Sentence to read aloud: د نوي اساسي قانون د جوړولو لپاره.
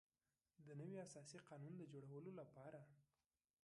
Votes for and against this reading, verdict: 0, 3, rejected